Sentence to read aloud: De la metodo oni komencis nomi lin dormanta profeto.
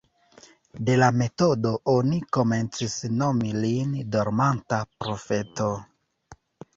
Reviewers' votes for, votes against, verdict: 1, 2, rejected